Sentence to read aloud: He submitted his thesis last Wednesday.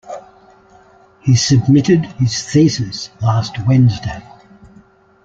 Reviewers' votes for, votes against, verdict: 2, 0, accepted